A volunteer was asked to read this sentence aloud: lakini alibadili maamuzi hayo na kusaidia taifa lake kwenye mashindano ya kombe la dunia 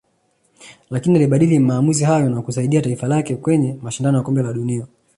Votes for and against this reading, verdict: 2, 0, accepted